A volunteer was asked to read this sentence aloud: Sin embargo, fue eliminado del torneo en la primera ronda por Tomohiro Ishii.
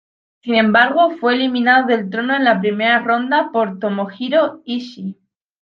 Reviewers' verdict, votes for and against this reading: rejected, 1, 3